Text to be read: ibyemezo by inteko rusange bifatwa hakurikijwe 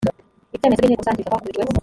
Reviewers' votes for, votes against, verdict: 0, 2, rejected